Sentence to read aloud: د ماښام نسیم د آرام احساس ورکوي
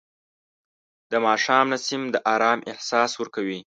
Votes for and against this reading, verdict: 2, 0, accepted